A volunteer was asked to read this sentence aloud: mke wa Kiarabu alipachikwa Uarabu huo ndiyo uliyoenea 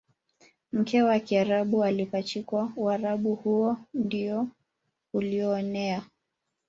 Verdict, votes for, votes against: rejected, 1, 2